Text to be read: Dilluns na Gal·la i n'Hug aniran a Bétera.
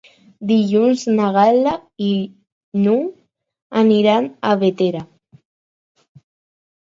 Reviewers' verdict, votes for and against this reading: accepted, 4, 0